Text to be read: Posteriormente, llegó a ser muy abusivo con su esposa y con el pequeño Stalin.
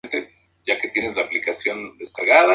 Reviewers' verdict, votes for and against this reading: rejected, 0, 2